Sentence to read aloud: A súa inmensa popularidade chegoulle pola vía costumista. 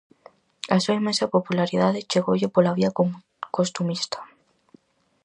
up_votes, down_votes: 0, 4